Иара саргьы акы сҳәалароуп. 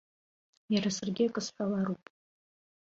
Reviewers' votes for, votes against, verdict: 2, 1, accepted